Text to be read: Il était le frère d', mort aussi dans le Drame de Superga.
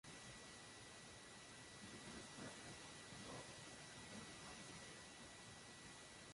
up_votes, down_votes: 0, 2